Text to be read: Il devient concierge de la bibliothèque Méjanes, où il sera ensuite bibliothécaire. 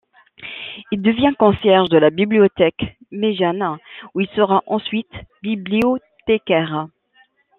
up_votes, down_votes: 0, 2